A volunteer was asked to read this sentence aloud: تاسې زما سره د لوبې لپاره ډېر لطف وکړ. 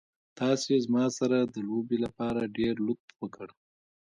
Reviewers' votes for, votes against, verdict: 1, 2, rejected